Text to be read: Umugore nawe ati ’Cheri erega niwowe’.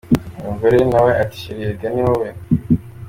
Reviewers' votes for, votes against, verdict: 2, 1, accepted